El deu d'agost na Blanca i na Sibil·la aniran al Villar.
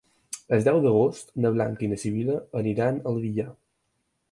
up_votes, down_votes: 4, 0